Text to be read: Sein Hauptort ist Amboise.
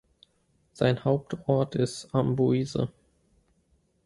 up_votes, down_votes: 2, 0